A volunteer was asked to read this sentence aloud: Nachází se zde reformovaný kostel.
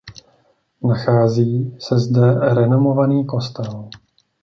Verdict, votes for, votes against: rejected, 0, 2